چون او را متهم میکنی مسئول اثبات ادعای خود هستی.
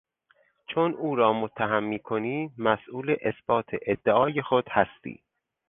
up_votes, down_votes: 4, 0